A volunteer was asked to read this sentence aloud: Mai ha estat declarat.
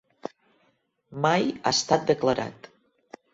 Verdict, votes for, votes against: accepted, 3, 0